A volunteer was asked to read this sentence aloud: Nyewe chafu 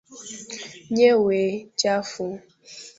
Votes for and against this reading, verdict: 2, 0, accepted